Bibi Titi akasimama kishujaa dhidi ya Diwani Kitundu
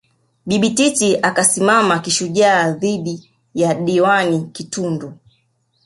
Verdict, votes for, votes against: accepted, 3, 1